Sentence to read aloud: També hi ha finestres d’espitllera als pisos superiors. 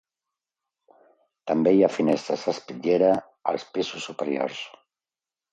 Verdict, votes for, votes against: accepted, 2, 0